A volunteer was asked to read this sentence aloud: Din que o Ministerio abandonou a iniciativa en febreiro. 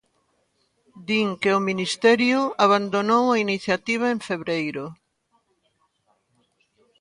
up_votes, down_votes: 2, 1